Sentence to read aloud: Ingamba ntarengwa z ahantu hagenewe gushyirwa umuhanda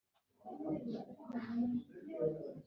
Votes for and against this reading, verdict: 0, 3, rejected